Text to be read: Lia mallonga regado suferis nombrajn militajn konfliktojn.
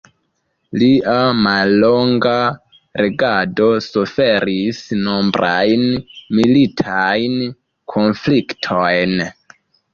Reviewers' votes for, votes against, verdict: 2, 0, accepted